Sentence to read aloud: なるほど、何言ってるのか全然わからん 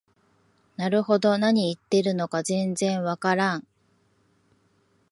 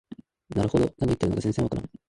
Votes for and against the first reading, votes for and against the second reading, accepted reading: 2, 0, 2, 3, first